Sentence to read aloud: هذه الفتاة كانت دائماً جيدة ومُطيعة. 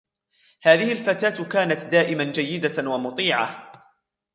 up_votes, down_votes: 1, 2